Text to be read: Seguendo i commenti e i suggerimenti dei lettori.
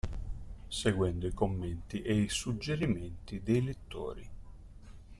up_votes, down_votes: 0, 2